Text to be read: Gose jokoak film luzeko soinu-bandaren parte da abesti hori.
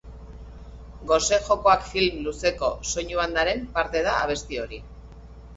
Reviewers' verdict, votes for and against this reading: accepted, 2, 0